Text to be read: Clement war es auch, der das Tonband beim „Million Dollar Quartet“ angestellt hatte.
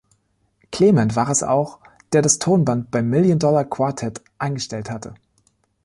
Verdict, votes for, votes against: rejected, 1, 2